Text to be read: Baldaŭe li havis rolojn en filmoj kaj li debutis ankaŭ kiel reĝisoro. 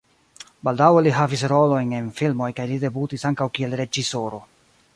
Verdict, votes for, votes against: accepted, 2, 1